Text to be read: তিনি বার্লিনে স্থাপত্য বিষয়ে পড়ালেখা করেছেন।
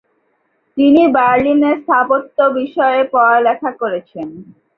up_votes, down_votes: 4, 0